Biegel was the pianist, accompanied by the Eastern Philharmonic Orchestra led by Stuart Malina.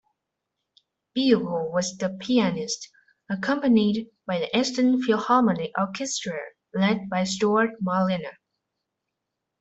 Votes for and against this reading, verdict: 2, 0, accepted